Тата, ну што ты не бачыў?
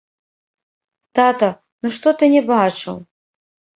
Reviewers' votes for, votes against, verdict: 1, 3, rejected